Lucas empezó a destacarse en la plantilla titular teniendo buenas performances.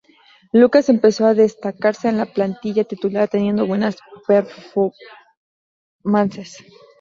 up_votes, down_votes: 2, 2